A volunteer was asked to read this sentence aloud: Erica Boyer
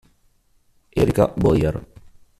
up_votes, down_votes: 2, 0